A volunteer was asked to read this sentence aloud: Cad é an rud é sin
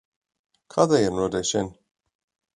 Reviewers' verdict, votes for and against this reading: accepted, 2, 0